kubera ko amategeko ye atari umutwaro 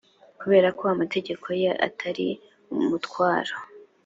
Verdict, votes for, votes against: accepted, 2, 0